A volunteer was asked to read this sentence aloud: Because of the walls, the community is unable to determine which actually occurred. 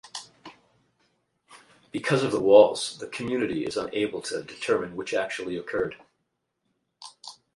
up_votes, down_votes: 4, 0